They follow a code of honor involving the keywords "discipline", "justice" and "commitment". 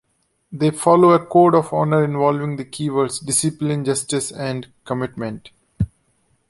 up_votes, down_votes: 2, 0